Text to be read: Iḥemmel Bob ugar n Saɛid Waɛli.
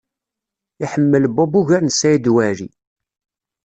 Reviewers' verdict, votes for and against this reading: accepted, 2, 0